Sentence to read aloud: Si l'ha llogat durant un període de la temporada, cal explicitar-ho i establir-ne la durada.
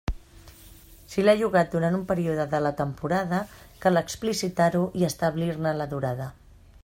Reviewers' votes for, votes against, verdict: 3, 0, accepted